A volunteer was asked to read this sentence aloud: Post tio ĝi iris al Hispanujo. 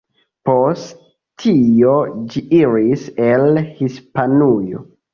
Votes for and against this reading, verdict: 0, 2, rejected